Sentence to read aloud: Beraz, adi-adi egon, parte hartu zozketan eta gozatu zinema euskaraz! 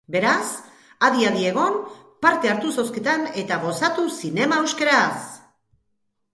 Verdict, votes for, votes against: rejected, 1, 3